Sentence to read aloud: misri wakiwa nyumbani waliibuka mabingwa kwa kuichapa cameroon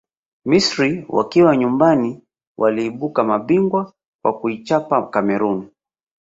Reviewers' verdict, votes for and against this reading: accepted, 3, 2